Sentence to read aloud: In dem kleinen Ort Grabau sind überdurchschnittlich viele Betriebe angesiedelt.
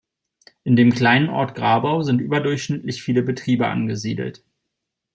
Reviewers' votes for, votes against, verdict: 2, 0, accepted